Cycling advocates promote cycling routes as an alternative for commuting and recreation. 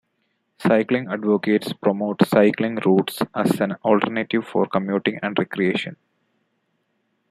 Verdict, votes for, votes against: accepted, 2, 0